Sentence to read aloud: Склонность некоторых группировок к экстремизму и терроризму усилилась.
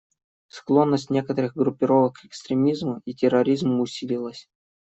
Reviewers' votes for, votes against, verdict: 2, 0, accepted